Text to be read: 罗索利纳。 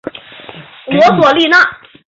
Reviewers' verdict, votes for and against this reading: accepted, 3, 0